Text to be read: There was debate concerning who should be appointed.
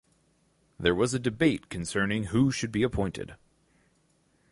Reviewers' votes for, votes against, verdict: 0, 2, rejected